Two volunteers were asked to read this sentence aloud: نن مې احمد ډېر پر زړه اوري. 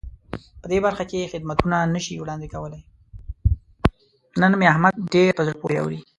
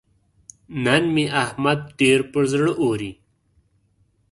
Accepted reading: second